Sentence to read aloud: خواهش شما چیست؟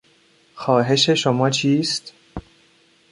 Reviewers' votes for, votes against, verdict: 2, 0, accepted